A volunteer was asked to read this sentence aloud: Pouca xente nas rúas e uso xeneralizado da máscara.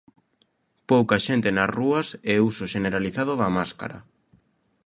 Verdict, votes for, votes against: accepted, 2, 0